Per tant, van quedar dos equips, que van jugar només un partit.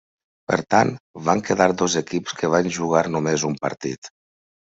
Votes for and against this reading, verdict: 3, 0, accepted